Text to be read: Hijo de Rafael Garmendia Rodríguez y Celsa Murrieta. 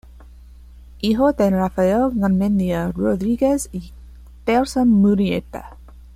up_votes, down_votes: 2, 1